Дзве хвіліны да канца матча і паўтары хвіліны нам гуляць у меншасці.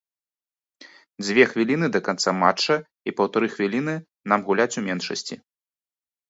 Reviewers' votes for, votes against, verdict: 3, 0, accepted